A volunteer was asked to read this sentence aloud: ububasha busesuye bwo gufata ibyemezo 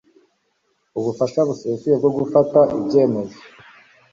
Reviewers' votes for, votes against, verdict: 1, 2, rejected